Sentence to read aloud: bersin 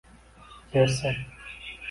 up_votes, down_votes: 0, 2